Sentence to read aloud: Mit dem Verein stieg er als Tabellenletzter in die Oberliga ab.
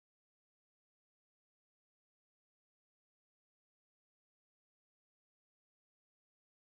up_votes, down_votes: 0, 2